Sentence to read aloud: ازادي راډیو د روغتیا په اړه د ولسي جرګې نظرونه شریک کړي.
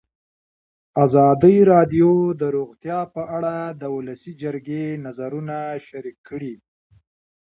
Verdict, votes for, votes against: rejected, 0, 2